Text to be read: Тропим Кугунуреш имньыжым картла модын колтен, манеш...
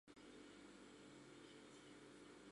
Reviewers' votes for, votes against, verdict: 1, 2, rejected